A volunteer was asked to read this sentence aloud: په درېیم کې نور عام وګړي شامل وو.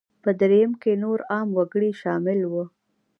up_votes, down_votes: 2, 1